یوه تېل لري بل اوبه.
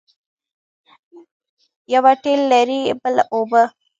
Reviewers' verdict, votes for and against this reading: rejected, 0, 2